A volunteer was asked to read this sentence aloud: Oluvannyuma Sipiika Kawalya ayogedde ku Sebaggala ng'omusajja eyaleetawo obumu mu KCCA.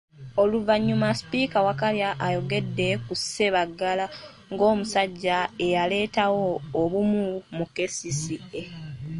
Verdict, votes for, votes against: rejected, 1, 2